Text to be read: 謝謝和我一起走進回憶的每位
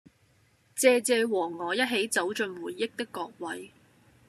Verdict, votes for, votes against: rejected, 0, 2